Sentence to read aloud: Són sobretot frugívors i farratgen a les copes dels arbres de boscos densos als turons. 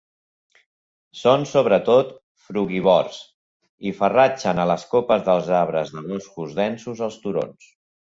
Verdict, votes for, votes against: rejected, 1, 2